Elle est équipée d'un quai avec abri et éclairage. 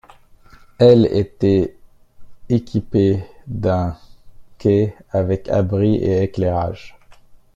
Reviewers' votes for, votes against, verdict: 0, 2, rejected